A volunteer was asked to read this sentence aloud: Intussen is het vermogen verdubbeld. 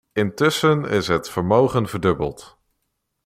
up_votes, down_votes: 2, 0